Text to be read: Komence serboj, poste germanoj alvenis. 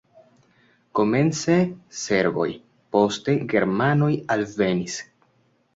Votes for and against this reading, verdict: 2, 0, accepted